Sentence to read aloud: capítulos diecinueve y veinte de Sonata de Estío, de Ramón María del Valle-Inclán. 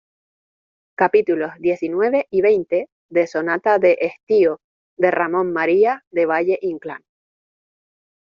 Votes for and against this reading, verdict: 1, 2, rejected